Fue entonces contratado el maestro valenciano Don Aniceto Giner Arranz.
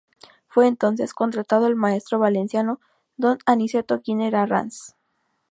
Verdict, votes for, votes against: accepted, 2, 0